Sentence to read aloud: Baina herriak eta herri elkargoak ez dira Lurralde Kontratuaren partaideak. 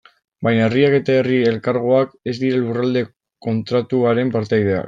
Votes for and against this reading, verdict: 0, 2, rejected